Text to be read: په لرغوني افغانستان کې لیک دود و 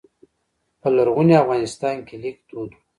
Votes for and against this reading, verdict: 1, 2, rejected